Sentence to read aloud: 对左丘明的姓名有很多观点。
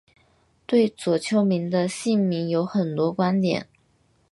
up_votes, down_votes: 4, 0